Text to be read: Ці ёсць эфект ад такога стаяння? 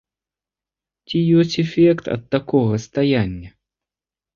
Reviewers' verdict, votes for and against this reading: accepted, 2, 0